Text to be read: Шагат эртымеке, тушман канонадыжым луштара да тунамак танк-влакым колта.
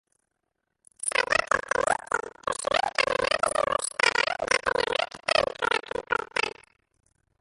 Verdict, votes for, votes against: rejected, 0, 2